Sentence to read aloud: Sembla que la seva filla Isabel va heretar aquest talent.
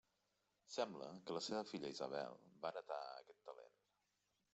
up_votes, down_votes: 1, 2